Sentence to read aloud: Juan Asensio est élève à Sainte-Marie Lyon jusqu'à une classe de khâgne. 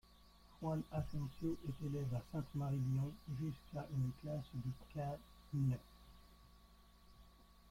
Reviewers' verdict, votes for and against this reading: rejected, 1, 2